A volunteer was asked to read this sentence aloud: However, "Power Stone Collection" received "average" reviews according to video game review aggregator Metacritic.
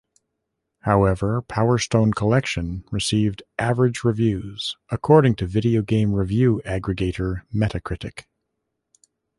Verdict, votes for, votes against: accepted, 2, 0